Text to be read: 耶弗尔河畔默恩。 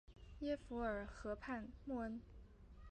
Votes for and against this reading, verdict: 0, 3, rejected